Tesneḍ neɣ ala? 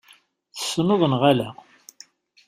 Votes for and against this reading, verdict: 2, 0, accepted